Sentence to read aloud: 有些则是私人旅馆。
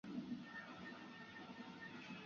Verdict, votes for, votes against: rejected, 0, 2